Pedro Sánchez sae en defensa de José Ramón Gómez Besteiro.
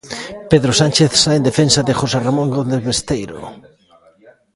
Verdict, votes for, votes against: accepted, 2, 1